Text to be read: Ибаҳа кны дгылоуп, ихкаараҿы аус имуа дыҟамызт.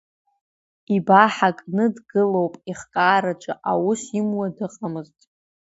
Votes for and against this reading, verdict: 2, 1, accepted